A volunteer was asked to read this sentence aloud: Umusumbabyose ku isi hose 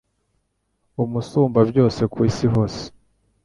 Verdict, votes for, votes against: accepted, 2, 0